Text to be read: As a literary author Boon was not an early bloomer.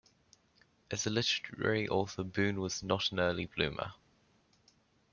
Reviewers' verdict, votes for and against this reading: accepted, 2, 0